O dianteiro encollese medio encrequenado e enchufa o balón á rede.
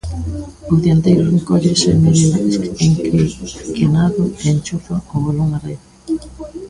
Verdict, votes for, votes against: rejected, 1, 2